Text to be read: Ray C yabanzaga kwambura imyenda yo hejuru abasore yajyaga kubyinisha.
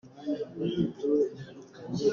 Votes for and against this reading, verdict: 0, 2, rejected